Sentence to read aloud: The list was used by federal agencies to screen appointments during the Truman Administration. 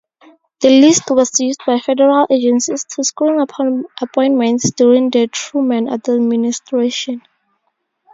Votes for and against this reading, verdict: 0, 2, rejected